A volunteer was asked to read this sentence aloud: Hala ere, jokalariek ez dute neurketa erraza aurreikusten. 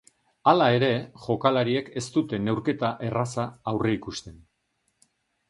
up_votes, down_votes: 2, 0